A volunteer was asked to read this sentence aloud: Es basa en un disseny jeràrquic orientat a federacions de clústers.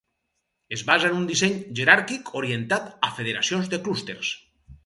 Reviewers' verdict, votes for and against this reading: rejected, 2, 2